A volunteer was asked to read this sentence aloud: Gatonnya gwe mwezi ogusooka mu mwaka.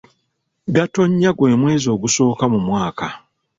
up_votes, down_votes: 2, 0